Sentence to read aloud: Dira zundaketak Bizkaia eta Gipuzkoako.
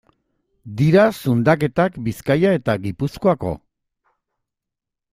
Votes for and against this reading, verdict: 2, 0, accepted